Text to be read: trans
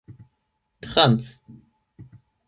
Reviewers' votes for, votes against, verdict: 4, 8, rejected